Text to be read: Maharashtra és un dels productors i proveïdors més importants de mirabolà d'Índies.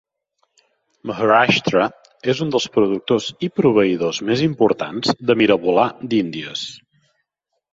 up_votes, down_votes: 5, 2